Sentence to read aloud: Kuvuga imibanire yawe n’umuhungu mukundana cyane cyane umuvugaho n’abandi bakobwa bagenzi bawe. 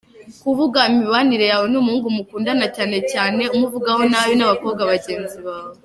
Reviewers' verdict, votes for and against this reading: accepted, 3, 2